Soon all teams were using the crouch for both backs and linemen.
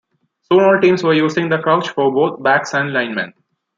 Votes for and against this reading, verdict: 2, 1, accepted